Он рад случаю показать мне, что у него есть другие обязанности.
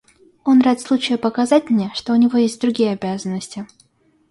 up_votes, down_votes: 2, 0